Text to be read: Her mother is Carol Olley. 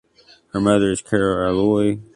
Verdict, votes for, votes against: rejected, 0, 2